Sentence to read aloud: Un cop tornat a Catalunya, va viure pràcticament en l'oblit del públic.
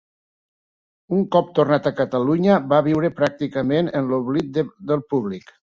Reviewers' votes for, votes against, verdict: 1, 2, rejected